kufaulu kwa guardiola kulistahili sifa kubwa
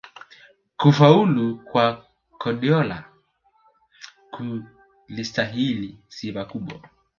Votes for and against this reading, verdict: 2, 3, rejected